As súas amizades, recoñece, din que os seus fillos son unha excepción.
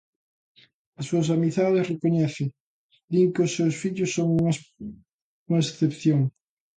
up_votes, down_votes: 0, 2